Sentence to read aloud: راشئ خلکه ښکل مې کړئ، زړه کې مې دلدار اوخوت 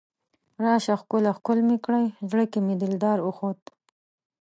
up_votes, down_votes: 0, 2